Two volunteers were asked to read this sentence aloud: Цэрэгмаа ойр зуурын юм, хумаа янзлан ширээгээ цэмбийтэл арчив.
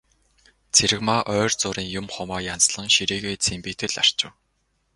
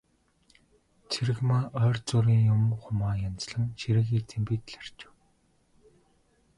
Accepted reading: first